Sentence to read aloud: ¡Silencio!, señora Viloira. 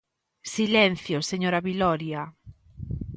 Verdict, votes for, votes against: rejected, 0, 2